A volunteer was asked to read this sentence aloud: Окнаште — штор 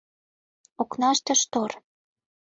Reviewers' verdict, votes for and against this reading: accepted, 2, 0